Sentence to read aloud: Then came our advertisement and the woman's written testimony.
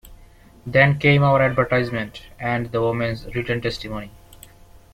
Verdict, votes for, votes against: accepted, 2, 0